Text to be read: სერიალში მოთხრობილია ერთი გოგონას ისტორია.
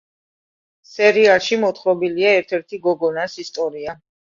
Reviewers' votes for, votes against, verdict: 0, 2, rejected